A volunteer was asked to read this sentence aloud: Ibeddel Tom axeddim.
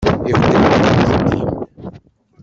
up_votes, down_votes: 0, 2